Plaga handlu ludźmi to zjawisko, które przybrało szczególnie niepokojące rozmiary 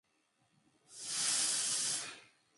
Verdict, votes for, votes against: rejected, 0, 2